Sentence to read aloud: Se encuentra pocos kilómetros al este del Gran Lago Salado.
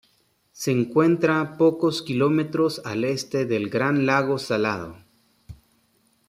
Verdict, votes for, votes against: accepted, 2, 0